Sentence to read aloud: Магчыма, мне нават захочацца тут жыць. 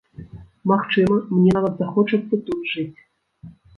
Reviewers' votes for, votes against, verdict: 1, 2, rejected